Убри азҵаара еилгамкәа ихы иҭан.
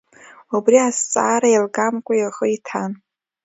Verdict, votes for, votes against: accepted, 2, 1